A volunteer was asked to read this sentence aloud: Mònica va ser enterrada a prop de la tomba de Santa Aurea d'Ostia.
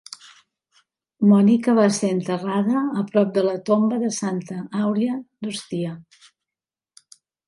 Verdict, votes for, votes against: accepted, 4, 0